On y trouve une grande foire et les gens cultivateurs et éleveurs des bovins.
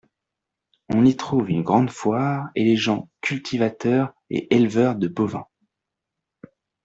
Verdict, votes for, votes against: accepted, 2, 0